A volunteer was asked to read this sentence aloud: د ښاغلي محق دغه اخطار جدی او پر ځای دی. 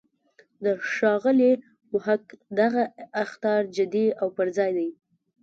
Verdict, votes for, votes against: rejected, 0, 2